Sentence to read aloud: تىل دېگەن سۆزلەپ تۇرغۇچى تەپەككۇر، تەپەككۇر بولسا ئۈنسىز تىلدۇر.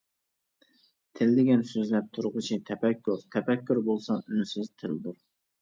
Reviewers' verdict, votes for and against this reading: accepted, 2, 0